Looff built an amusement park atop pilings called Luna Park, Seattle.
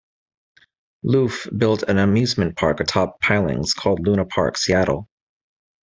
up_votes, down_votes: 2, 0